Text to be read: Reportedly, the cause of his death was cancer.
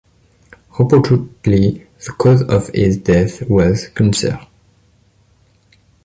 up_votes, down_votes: 0, 2